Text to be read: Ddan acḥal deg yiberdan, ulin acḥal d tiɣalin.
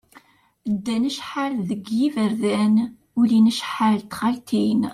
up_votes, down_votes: 1, 2